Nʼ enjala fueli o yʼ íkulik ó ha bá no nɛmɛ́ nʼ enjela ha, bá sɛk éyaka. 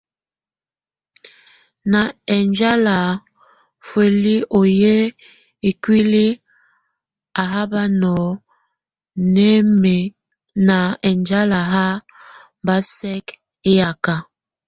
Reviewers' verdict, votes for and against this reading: rejected, 0, 2